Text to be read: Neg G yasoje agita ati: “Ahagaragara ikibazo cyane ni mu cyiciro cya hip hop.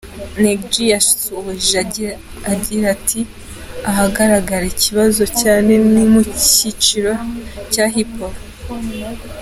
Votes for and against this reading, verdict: 2, 1, accepted